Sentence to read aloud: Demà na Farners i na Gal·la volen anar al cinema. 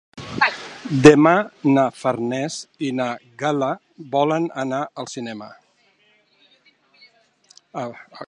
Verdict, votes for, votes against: rejected, 0, 2